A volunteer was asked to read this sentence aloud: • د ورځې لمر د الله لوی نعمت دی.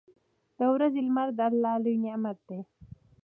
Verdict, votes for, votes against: accepted, 2, 0